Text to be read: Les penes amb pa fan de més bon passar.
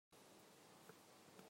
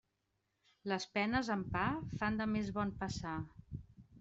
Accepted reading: second